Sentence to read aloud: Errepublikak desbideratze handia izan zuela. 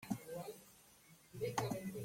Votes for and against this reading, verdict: 0, 2, rejected